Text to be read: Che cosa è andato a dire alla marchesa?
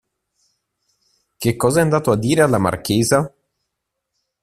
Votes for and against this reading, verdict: 2, 0, accepted